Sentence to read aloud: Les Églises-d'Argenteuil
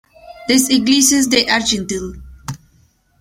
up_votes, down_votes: 0, 2